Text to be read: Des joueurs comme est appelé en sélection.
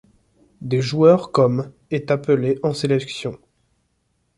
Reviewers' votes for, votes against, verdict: 2, 0, accepted